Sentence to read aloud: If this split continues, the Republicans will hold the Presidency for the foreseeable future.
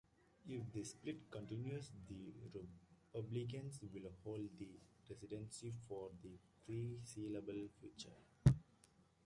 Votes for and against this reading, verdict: 2, 0, accepted